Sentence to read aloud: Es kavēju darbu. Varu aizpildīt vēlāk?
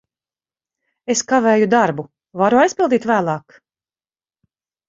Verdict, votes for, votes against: accepted, 4, 0